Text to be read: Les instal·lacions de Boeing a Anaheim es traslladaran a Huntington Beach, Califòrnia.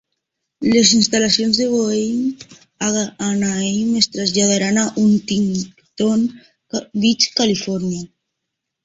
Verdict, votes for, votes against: rejected, 0, 2